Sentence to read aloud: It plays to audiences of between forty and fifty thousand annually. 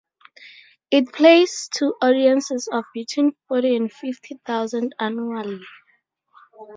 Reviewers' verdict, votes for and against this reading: accepted, 2, 0